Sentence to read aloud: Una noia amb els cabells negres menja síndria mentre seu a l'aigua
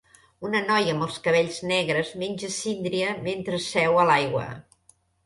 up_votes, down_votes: 2, 1